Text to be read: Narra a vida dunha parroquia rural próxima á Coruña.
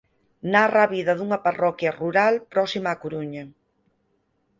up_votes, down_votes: 4, 0